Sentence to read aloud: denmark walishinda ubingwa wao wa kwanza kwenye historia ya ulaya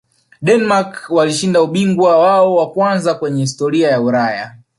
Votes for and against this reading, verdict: 1, 2, rejected